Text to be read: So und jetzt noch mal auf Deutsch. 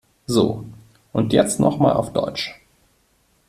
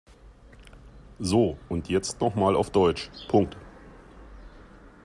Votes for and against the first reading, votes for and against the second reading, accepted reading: 2, 0, 0, 2, first